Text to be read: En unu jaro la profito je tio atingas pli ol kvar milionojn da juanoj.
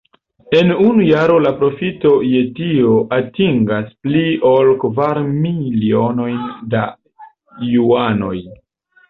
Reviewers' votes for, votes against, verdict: 2, 0, accepted